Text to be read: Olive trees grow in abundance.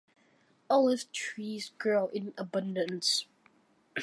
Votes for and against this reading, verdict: 2, 1, accepted